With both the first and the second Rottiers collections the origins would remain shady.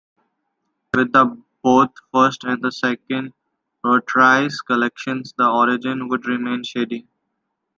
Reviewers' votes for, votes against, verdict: 2, 1, accepted